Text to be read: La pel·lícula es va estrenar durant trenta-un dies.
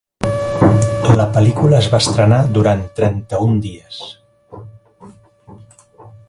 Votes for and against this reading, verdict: 1, 2, rejected